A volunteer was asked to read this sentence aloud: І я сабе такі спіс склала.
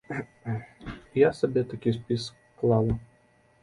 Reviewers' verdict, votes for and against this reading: rejected, 1, 2